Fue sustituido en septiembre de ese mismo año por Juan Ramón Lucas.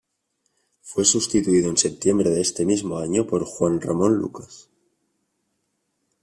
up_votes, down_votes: 0, 2